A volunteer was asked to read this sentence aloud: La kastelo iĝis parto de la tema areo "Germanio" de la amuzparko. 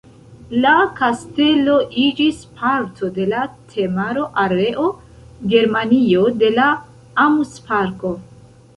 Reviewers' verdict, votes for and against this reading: rejected, 0, 2